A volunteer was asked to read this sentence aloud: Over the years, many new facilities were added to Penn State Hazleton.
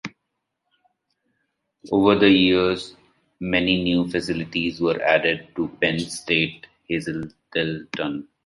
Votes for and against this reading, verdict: 2, 0, accepted